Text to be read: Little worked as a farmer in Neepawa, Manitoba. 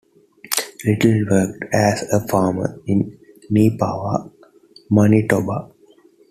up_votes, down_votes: 2, 0